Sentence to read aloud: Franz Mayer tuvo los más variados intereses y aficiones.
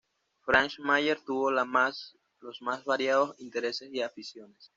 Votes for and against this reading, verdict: 1, 2, rejected